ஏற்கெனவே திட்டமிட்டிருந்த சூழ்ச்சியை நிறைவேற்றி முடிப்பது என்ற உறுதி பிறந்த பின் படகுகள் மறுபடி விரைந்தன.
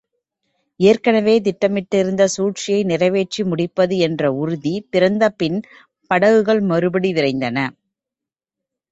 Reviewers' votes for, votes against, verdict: 2, 1, accepted